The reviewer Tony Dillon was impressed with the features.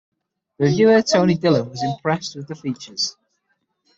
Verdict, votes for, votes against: accepted, 6, 3